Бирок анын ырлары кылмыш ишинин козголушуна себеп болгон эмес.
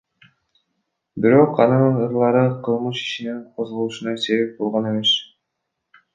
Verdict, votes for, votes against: rejected, 1, 2